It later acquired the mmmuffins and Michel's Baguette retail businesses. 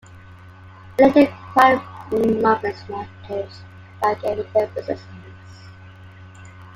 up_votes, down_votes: 0, 2